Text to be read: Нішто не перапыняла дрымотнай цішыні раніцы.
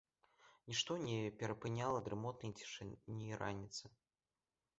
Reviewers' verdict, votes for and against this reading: accepted, 2, 0